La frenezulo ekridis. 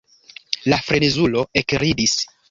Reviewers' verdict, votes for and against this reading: rejected, 0, 2